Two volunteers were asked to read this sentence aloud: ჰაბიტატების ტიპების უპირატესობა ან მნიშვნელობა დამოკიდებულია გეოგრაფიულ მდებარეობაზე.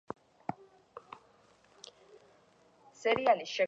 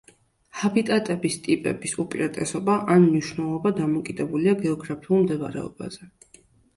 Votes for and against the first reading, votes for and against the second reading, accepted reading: 0, 2, 2, 0, second